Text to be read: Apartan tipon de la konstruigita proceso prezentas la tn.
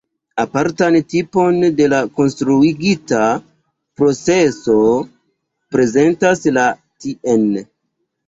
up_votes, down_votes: 2, 3